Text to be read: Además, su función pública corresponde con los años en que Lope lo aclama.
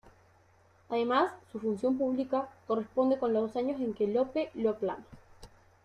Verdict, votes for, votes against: accepted, 2, 0